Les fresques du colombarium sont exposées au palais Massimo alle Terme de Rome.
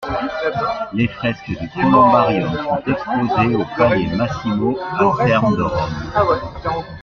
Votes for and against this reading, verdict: 0, 2, rejected